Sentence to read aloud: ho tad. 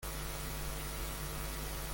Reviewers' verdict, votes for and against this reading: rejected, 0, 2